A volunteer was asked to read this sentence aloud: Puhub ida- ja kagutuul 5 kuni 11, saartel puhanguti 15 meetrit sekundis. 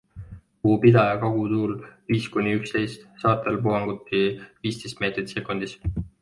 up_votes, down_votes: 0, 2